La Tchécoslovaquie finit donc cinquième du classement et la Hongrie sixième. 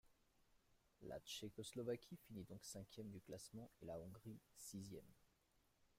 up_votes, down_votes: 0, 3